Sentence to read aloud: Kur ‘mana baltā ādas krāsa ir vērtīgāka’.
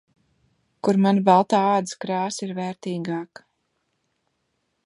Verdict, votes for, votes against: accepted, 2, 0